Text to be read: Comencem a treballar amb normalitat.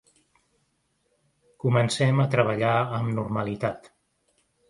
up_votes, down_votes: 2, 0